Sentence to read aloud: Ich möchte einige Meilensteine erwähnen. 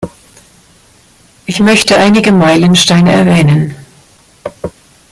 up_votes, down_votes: 1, 2